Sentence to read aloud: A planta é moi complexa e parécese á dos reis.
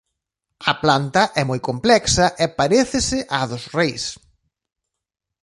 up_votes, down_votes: 3, 0